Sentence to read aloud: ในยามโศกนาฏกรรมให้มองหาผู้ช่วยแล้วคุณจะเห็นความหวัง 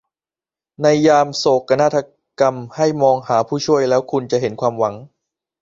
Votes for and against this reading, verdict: 1, 2, rejected